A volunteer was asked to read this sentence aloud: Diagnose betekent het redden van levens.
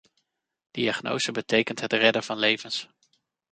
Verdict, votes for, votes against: accepted, 2, 0